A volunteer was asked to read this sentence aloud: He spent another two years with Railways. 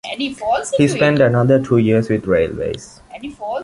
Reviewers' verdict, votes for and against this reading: rejected, 1, 2